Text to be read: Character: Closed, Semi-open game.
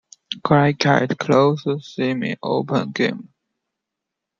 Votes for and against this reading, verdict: 2, 1, accepted